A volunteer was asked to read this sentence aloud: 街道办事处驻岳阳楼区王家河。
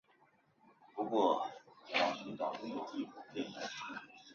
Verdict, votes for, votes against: rejected, 0, 2